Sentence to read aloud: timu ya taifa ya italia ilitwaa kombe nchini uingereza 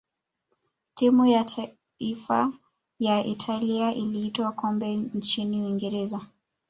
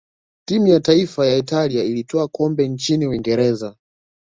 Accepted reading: second